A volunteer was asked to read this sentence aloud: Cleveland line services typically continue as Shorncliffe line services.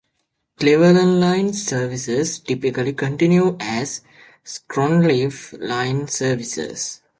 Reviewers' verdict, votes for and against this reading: rejected, 1, 2